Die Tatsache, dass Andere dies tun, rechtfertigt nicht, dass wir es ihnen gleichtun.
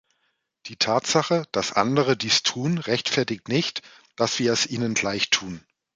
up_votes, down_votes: 2, 0